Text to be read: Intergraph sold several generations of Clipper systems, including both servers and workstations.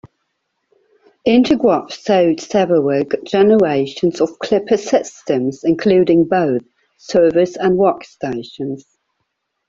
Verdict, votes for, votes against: rejected, 0, 2